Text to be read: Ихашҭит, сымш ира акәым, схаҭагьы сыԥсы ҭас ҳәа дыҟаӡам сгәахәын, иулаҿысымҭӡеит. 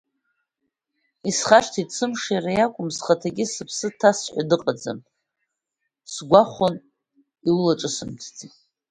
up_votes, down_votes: 1, 2